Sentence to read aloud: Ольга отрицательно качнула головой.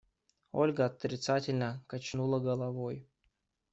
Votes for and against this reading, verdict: 2, 0, accepted